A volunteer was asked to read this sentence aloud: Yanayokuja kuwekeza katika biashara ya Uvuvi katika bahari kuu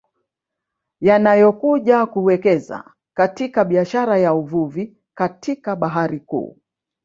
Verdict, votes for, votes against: rejected, 1, 2